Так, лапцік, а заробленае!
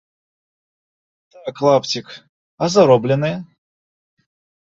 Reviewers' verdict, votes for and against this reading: rejected, 1, 2